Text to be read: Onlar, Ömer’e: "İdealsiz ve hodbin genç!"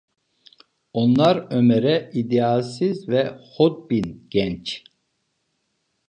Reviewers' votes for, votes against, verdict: 2, 0, accepted